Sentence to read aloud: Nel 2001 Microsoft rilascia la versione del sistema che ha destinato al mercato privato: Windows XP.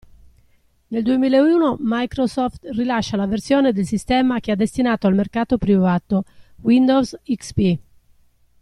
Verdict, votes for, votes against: rejected, 0, 2